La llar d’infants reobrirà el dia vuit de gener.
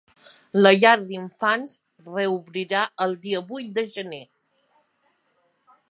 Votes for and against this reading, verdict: 4, 0, accepted